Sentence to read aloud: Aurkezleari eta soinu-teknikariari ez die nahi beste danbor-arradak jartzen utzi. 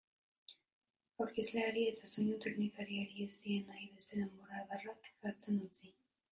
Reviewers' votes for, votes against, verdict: 1, 2, rejected